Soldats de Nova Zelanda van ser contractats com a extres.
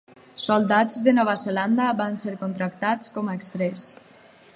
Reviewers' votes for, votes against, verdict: 0, 4, rejected